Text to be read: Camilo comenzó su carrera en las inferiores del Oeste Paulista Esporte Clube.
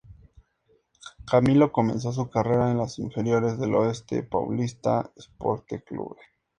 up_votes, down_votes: 4, 0